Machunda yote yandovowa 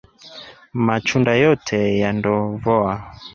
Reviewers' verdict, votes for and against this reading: accepted, 3, 0